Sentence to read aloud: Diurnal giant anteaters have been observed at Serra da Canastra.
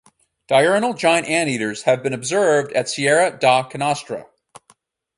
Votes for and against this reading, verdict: 2, 2, rejected